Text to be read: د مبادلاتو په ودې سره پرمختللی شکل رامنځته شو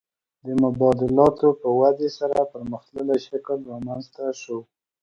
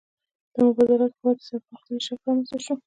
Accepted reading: first